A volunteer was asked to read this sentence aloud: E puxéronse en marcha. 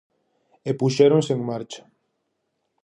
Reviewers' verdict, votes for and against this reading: accepted, 2, 0